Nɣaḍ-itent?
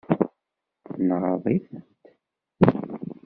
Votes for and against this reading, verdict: 1, 2, rejected